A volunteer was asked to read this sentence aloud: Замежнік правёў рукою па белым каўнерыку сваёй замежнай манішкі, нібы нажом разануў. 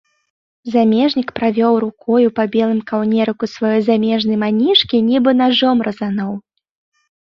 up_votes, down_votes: 2, 0